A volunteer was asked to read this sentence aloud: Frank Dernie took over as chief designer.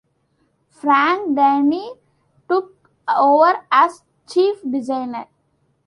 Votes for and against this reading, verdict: 2, 1, accepted